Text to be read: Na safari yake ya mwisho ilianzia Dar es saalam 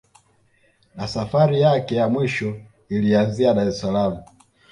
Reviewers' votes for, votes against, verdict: 2, 0, accepted